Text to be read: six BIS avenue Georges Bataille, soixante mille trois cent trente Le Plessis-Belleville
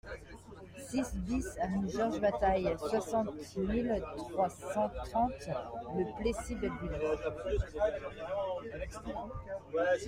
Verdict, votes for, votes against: rejected, 1, 2